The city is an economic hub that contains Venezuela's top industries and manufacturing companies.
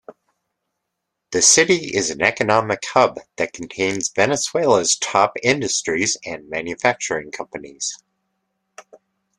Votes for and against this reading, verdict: 2, 0, accepted